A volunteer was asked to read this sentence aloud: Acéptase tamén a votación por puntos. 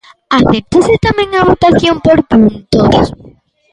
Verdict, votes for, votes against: rejected, 1, 2